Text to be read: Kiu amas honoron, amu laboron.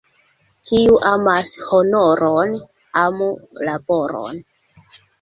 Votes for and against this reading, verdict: 2, 0, accepted